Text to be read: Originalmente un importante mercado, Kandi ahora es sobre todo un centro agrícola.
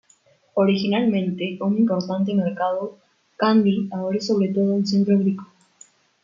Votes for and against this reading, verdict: 1, 2, rejected